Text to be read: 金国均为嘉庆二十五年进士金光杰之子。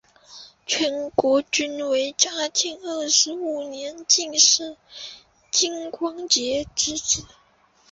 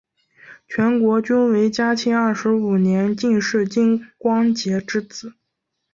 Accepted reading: second